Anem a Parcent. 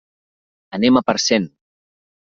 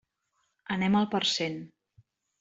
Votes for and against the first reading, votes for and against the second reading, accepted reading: 2, 0, 0, 2, first